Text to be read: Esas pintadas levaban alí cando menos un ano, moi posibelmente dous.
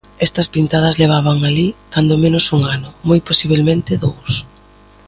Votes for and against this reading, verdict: 2, 0, accepted